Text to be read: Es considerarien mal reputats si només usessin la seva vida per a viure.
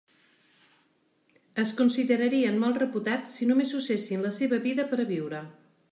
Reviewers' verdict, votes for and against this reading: rejected, 1, 2